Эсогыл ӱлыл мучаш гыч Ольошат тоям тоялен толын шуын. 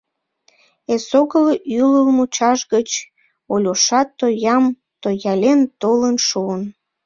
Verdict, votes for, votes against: rejected, 0, 2